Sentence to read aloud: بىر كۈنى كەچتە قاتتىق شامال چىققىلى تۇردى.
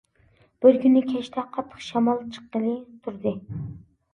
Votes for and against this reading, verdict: 2, 0, accepted